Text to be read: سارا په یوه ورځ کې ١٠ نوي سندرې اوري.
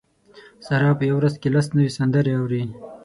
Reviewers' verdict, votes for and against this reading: rejected, 0, 2